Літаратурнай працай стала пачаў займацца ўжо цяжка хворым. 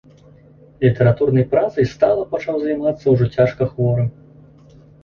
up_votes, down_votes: 2, 0